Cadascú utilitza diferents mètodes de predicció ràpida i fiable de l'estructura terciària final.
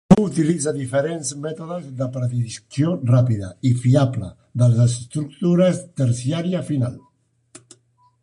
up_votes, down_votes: 1, 2